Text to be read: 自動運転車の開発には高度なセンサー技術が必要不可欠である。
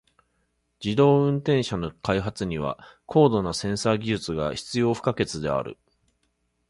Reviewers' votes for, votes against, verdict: 3, 0, accepted